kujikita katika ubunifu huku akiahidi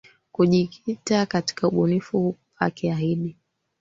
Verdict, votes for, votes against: rejected, 3, 4